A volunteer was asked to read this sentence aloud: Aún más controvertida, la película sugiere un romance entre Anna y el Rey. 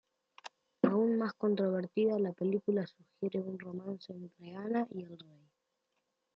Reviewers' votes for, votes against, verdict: 2, 0, accepted